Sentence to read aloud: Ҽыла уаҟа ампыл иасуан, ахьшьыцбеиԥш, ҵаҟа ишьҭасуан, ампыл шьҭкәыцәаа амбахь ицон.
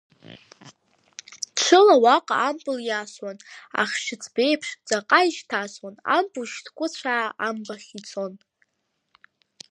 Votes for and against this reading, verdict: 2, 0, accepted